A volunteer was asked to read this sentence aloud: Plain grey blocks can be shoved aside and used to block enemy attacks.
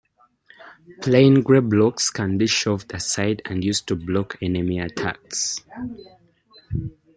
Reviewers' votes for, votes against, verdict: 2, 1, accepted